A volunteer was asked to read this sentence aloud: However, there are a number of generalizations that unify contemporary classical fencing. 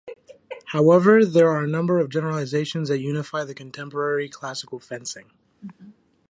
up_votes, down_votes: 1, 2